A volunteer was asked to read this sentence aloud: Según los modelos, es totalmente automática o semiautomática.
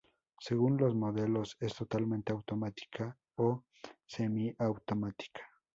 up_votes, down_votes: 0, 2